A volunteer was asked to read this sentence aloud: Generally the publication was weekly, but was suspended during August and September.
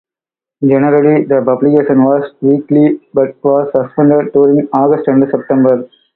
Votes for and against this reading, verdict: 0, 2, rejected